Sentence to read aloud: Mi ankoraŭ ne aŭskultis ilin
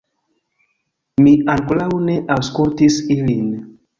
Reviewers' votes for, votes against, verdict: 1, 2, rejected